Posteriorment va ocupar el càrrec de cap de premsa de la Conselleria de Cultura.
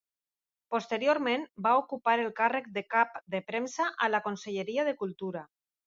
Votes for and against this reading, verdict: 0, 2, rejected